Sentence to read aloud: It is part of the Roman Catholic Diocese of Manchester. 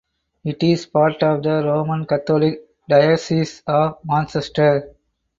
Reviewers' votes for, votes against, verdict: 4, 2, accepted